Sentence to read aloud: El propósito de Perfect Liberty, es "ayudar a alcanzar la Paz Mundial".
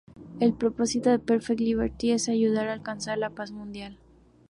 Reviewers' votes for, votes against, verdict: 2, 0, accepted